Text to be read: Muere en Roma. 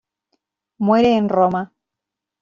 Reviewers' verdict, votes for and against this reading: accepted, 2, 0